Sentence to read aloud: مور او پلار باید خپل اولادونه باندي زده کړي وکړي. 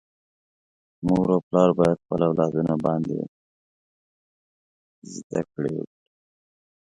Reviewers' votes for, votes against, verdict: 1, 2, rejected